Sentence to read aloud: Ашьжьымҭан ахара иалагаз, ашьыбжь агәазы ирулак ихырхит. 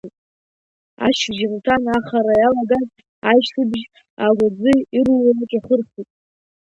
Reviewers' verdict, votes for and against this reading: rejected, 0, 3